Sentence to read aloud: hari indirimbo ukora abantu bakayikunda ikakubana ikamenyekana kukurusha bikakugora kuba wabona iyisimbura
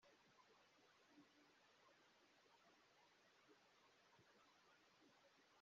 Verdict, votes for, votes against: rejected, 0, 2